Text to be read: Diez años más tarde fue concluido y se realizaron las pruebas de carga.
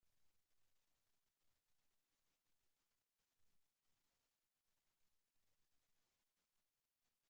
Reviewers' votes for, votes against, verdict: 0, 2, rejected